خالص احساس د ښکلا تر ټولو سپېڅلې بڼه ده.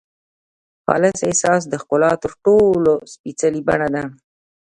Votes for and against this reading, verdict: 2, 0, accepted